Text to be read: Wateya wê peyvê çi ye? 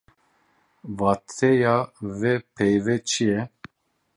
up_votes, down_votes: 0, 2